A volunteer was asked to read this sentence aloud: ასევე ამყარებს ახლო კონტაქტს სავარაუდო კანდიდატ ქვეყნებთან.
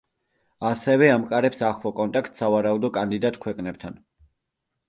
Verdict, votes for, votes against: accepted, 2, 0